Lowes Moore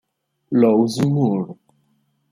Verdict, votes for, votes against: accepted, 2, 0